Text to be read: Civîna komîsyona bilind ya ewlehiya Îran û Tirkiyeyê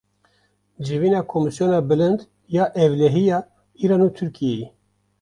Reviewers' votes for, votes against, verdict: 2, 0, accepted